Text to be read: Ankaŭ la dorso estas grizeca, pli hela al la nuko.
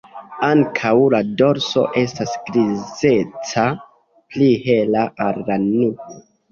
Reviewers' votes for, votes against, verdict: 0, 2, rejected